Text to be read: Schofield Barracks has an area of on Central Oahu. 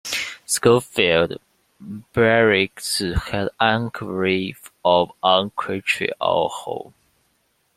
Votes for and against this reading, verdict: 0, 2, rejected